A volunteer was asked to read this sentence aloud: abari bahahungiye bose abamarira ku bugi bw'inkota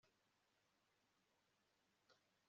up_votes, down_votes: 1, 2